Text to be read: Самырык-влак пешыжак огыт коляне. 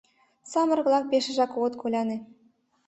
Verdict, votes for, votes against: accepted, 2, 0